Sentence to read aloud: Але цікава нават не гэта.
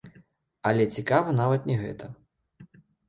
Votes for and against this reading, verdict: 1, 2, rejected